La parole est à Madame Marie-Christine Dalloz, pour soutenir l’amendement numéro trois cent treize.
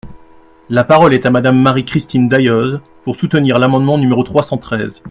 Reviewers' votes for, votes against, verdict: 0, 2, rejected